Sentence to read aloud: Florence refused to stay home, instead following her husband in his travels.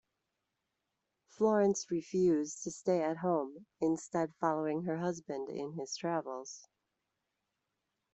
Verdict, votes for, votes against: rejected, 0, 2